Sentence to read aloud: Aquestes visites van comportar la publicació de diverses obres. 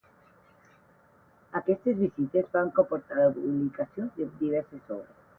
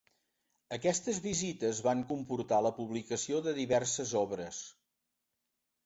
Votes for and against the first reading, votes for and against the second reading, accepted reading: 0, 8, 2, 0, second